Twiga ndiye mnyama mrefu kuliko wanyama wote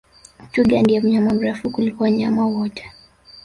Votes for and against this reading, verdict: 0, 2, rejected